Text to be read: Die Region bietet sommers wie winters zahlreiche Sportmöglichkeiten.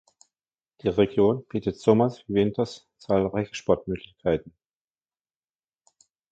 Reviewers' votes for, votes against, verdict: 2, 0, accepted